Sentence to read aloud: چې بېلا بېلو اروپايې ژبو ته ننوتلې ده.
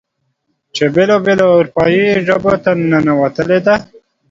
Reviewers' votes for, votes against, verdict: 2, 0, accepted